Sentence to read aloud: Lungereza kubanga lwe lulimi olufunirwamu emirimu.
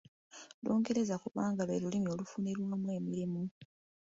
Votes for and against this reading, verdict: 2, 1, accepted